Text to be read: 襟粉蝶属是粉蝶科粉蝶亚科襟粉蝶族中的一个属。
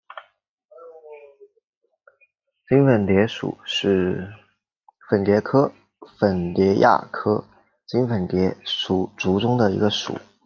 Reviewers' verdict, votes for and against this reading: rejected, 0, 2